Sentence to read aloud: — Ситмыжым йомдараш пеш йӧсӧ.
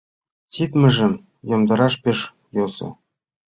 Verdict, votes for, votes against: accepted, 2, 1